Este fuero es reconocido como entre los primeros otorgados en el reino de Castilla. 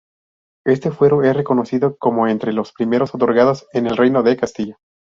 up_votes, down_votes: 2, 0